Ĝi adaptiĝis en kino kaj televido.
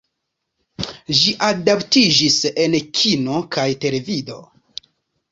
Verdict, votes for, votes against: rejected, 0, 2